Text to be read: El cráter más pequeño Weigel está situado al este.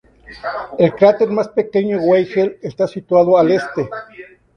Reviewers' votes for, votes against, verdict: 2, 0, accepted